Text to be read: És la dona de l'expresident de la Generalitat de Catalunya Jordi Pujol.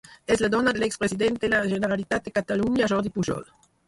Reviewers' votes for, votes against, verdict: 2, 4, rejected